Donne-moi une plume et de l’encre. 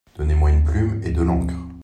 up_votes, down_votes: 1, 2